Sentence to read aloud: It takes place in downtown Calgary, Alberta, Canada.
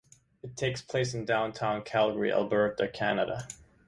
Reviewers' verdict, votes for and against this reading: rejected, 1, 2